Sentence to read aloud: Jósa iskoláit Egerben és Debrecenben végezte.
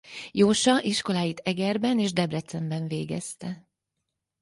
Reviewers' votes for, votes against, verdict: 4, 0, accepted